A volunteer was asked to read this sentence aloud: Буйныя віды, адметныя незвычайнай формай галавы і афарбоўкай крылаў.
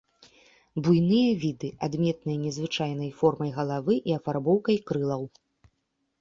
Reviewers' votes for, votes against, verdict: 2, 0, accepted